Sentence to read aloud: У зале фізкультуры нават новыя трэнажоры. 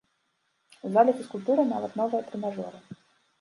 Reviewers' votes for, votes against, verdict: 2, 1, accepted